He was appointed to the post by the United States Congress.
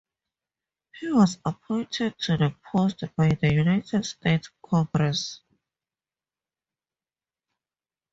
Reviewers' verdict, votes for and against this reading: rejected, 0, 2